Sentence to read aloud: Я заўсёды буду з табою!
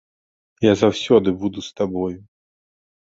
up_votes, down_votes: 4, 0